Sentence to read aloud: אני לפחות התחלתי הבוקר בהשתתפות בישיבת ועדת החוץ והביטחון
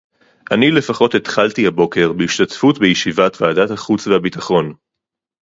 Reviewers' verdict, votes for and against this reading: accepted, 4, 0